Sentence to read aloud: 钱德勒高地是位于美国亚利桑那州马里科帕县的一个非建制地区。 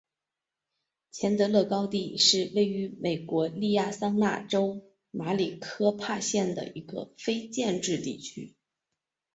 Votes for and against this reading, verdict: 3, 0, accepted